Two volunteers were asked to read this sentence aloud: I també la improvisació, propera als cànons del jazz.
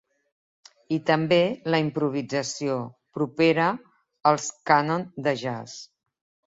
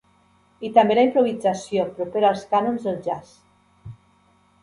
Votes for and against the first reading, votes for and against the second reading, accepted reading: 1, 2, 2, 0, second